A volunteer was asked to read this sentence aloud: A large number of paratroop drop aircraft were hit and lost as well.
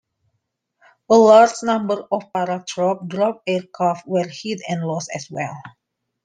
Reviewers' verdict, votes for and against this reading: accepted, 2, 0